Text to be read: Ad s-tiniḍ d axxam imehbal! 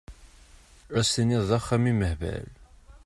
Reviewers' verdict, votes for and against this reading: accepted, 2, 0